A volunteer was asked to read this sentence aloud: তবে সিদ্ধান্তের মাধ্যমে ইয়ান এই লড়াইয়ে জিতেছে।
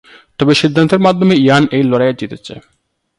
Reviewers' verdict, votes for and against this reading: accepted, 2, 0